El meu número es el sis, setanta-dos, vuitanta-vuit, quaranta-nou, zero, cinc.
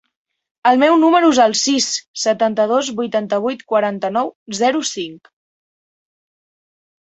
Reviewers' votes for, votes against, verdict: 3, 0, accepted